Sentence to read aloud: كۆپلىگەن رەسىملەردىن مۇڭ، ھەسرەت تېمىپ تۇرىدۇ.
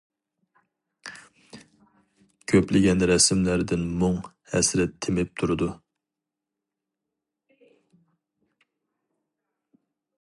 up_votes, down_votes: 2, 0